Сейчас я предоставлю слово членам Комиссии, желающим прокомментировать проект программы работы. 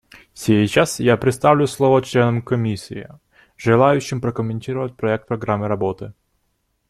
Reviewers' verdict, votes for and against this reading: accepted, 2, 0